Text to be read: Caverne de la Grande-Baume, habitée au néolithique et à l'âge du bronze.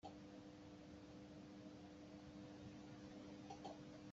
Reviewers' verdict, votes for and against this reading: rejected, 0, 2